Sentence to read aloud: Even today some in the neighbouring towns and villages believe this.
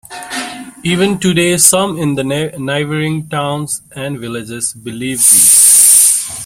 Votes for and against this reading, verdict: 0, 2, rejected